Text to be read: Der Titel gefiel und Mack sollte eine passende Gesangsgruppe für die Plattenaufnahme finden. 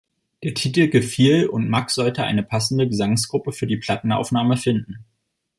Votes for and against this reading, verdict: 2, 0, accepted